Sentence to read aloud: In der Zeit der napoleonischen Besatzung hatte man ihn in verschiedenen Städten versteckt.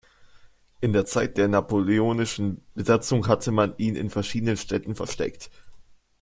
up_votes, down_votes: 2, 0